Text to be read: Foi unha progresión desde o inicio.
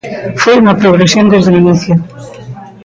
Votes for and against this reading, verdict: 0, 2, rejected